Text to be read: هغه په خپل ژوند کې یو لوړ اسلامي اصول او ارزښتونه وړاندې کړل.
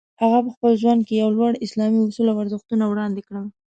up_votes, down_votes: 2, 0